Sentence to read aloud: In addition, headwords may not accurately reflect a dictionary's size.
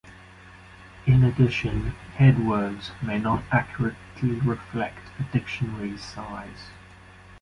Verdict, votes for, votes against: rejected, 0, 2